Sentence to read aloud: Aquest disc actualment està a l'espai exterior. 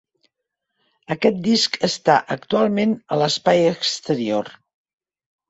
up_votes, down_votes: 0, 4